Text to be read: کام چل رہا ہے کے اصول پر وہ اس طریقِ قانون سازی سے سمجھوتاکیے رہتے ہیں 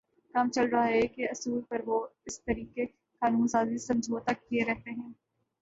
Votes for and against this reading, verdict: 2, 1, accepted